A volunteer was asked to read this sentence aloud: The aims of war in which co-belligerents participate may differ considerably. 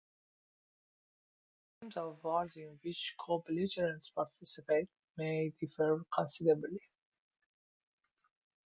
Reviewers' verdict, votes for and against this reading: rejected, 1, 2